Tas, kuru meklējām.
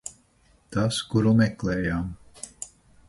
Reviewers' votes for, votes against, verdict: 4, 0, accepted